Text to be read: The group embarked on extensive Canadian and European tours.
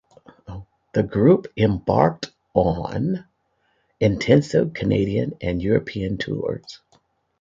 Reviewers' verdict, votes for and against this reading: rejected, 0, 2